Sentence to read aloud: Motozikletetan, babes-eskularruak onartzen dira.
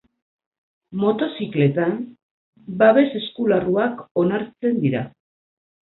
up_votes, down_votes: 2, 4